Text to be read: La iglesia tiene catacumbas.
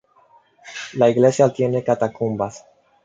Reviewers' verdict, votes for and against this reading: accepted, 2, 0